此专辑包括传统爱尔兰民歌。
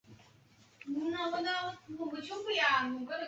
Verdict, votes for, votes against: rejected, 1, 2